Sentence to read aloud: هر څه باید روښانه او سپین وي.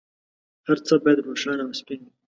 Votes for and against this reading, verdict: 0, 2, rejected